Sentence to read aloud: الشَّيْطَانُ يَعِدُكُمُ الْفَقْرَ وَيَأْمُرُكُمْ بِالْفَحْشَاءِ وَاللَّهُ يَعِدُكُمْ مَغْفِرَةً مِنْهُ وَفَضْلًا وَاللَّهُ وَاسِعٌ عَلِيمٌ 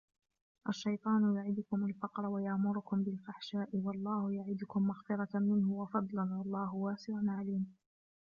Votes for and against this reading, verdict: 3, 0, accepted